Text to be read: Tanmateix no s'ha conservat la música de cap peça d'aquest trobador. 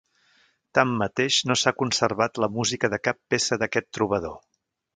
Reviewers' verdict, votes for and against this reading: accepted, 4, 0